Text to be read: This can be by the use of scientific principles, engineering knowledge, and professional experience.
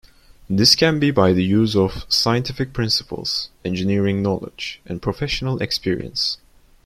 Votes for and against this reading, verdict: 2, 0, accepted